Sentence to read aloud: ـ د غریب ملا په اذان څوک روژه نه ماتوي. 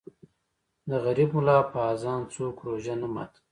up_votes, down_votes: 1, 2